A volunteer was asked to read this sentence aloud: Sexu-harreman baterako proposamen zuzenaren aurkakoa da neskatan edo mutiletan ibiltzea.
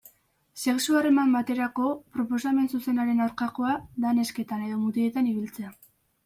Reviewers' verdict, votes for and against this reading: rejected, 1, 2